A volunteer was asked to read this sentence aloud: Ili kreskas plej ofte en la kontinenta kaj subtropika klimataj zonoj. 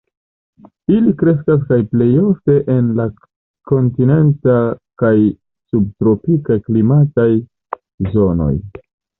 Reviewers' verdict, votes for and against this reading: rejected, 1, 2